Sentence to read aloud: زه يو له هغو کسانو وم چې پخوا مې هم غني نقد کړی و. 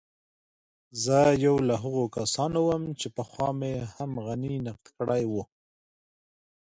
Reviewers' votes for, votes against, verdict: 2, 0, accepted